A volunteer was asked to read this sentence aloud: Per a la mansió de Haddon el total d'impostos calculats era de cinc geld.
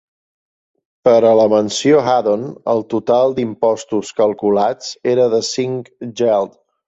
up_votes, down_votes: 2, 0